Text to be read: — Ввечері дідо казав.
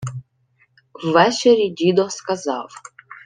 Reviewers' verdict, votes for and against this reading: rejected, 0, 2